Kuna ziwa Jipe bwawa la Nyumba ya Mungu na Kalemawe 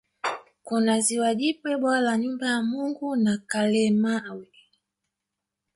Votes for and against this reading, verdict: 1, 2, rejected